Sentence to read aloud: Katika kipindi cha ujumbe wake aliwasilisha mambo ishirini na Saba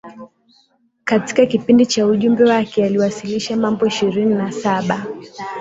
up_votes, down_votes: 4, 0